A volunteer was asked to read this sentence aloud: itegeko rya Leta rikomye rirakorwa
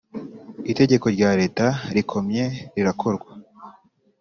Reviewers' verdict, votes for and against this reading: accepted, 3, 0